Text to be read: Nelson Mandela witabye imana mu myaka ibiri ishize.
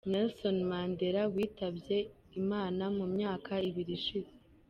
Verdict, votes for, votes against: accepted, 2, 0